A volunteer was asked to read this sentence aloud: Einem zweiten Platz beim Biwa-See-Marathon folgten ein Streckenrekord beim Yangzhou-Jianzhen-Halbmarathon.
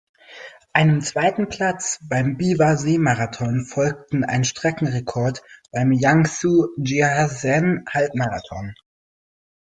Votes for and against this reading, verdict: 0, 2, rejected